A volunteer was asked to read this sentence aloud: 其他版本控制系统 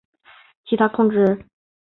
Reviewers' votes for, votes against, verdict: 0, 2, rejected